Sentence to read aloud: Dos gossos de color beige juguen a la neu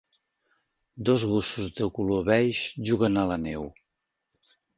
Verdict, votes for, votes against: accepted, 4, 0